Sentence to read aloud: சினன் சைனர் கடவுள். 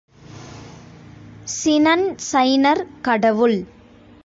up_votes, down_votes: 1, 2